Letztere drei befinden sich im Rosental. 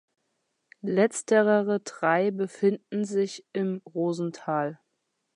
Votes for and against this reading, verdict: 1, 2, rejected